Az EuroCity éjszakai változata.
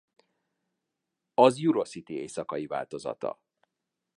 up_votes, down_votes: 1, 2